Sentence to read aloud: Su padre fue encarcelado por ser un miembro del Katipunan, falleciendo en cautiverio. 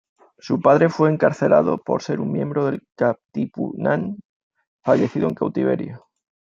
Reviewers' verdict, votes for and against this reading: rejected, 0, 2